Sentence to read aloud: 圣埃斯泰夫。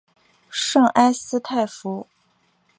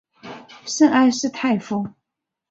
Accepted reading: first